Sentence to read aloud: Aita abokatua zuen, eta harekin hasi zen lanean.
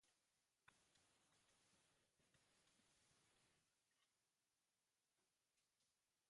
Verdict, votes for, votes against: rejected, 0, 2